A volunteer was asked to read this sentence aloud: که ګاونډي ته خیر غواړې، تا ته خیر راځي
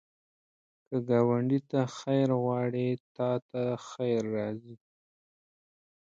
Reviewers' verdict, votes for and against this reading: accepted, 2, 0